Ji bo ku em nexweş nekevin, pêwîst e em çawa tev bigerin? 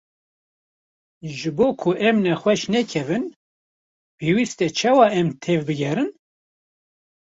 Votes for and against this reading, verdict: 1, 2, rejected